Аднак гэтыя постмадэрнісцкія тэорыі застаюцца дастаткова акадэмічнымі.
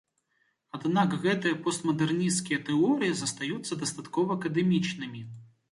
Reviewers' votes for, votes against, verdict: 2, 0, accepted